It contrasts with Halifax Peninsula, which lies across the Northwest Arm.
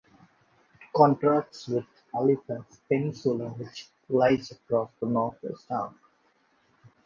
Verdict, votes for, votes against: rejected, 0, 2